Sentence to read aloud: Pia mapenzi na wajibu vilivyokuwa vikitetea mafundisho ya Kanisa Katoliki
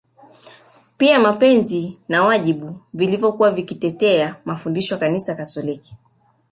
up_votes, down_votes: 0, 2